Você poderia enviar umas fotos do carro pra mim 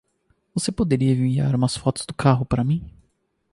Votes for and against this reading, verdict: 0, 2, rejected